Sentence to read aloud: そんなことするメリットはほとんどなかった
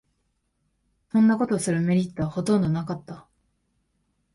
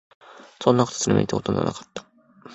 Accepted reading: first